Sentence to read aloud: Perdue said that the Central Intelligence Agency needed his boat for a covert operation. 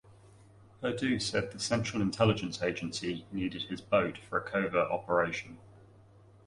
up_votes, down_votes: 1, 2